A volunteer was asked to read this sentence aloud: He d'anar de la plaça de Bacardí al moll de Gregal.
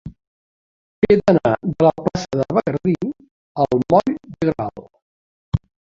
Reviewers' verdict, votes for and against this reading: rejected, 0, 2